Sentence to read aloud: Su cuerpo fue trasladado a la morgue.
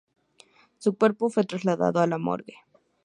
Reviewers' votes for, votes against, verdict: 2, 0, accepted